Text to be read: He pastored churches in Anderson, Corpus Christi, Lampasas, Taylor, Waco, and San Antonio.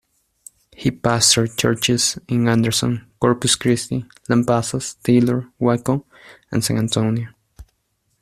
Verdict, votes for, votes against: accepted, 2, 0